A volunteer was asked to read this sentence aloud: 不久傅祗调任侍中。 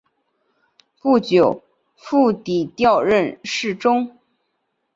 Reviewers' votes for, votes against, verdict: 2, 0, accepted